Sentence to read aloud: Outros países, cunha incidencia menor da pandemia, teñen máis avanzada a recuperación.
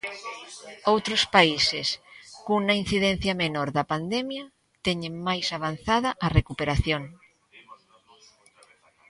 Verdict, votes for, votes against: rejected, 1, 2